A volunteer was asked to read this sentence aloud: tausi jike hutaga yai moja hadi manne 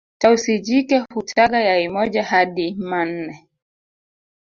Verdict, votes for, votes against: rejected, 0, 2